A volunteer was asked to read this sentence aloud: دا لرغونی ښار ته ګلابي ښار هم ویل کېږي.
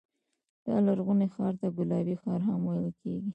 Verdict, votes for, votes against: accepted, 2, 0